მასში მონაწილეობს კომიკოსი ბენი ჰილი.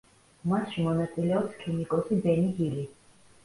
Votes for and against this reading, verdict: 1, 2, rejected